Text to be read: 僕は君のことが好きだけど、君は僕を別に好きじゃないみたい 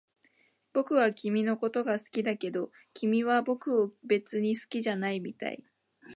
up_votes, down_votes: 0, 2